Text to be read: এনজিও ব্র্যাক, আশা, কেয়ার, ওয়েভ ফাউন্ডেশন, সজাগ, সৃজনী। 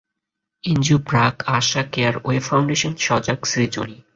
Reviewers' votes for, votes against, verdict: 2, 0, accepted